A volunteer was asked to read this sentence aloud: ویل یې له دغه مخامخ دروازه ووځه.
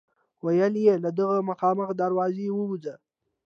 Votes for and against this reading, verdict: 2, 0, accepted